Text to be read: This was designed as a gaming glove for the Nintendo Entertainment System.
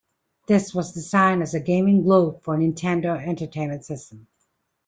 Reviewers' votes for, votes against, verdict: 0, 2, rejected